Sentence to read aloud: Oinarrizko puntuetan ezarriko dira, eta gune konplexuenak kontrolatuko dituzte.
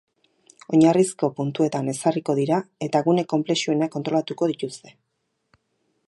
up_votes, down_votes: 2, 0